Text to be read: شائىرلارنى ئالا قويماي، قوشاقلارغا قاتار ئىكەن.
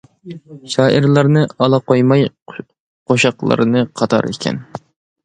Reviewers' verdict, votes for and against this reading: rejected, 0, 2